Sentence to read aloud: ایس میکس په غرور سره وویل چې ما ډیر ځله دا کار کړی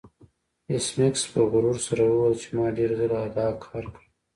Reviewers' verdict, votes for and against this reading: accepted, 2, 0